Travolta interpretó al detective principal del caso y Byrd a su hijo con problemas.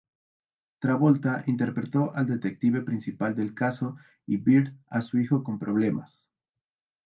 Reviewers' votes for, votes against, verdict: 2, 2, rejected